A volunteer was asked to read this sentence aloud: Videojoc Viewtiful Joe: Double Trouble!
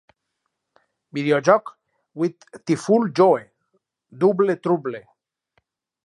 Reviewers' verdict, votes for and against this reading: accepted, 4, 0